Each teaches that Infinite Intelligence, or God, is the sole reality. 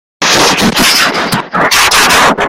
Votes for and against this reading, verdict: 0, 2, rejected